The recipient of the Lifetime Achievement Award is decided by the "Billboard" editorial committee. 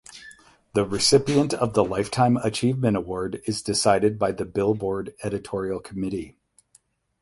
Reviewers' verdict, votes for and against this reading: accepted, 8, 0